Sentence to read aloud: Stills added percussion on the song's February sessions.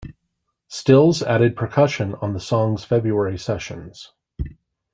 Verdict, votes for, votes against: accepted, 2, 0